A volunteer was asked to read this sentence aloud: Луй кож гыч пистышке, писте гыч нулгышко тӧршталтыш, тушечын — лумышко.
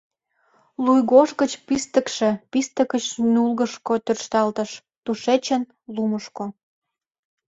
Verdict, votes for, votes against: rejected, 1, 2